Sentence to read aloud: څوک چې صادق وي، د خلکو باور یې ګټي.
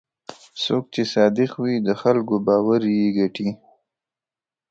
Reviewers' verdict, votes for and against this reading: accepted, 2, 0